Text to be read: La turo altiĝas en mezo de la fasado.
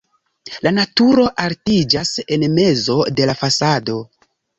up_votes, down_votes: 0, 2